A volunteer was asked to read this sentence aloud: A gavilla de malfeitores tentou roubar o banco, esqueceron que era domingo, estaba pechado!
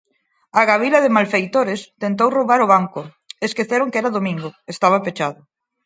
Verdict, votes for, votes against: rejected, 2, 4